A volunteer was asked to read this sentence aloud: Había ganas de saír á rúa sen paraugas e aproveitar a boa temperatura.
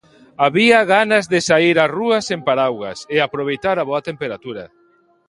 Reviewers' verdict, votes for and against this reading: rejected, 1, 2